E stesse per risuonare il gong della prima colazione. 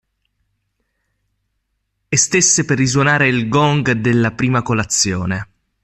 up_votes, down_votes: 2, 0